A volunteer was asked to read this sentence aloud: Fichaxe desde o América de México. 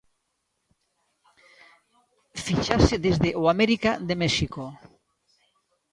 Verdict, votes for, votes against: accepted, 2, 1